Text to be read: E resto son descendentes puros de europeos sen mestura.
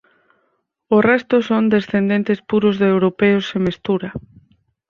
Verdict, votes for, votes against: rejected, 2, 4